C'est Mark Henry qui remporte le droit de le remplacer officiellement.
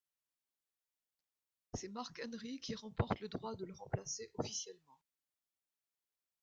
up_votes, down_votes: 1, 2